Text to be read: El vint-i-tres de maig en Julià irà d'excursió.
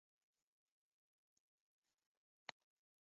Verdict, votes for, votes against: rejected, 1, 2